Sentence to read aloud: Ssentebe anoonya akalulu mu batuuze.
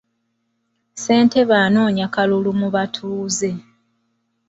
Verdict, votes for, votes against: rejected, 1, 2